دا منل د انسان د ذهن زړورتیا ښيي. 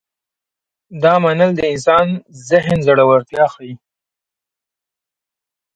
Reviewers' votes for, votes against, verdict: 2, 0, accepted